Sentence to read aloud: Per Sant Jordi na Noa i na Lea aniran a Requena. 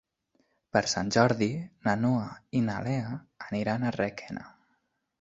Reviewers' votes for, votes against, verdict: 3, 1, accepted